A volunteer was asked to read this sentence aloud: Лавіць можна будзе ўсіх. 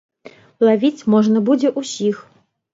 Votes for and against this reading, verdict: 3, 0, accepted